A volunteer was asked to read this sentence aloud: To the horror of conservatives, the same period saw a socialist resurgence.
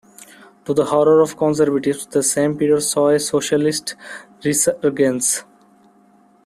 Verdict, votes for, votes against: rejected, 1, 2